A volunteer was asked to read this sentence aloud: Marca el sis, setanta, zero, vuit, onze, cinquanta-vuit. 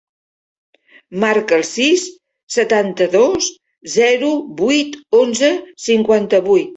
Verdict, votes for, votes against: rejected, 0, 3